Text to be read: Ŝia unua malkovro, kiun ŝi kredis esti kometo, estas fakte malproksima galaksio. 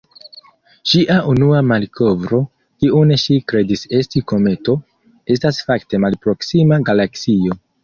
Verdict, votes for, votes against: accepted, 2, 1